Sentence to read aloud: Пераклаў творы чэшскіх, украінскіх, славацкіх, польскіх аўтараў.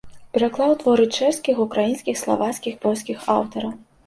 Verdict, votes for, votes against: accepted, 2, 0